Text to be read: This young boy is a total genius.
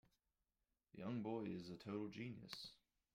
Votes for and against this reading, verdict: 0, 2, rejected